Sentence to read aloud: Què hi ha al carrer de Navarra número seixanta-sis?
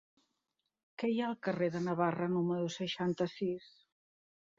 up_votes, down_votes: 2, 0